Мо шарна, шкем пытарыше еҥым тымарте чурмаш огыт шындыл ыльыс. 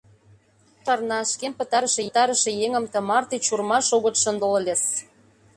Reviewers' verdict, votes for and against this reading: rejected, 0, 2